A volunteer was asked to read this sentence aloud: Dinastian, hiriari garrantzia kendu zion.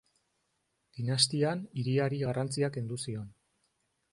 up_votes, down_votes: 2, 0